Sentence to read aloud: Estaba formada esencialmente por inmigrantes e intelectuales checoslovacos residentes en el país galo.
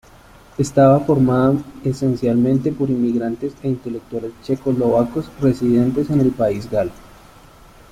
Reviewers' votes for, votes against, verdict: 2, 0, accepted